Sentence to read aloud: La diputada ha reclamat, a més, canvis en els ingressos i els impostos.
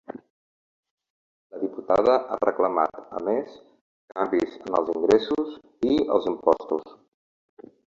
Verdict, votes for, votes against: rejected, 1, 2